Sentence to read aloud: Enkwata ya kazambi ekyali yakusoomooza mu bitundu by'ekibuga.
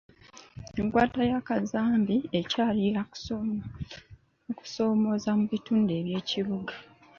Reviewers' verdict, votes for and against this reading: rejected, 1, 2